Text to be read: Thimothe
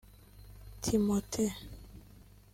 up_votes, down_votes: 1, 2